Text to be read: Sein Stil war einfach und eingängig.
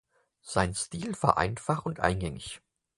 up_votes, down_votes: 4, 0